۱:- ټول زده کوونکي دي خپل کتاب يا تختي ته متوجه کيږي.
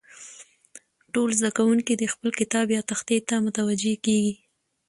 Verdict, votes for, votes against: rejected, 0, 2